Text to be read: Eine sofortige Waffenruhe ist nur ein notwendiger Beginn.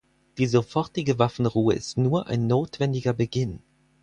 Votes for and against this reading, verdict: 0, 4, rejected